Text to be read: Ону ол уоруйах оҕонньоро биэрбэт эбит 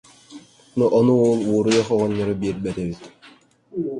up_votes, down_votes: 0, 2